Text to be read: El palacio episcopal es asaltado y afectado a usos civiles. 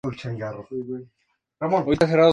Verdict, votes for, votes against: rejected, 0, 2